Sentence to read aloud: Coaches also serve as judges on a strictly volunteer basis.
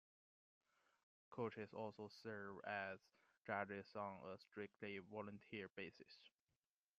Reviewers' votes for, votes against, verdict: 2, 0, accepted